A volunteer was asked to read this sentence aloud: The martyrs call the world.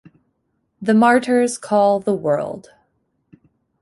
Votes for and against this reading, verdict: 2, 0, accepted